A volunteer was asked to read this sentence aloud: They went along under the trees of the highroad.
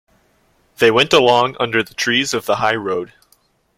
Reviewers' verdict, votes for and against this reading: accepted, 2, 0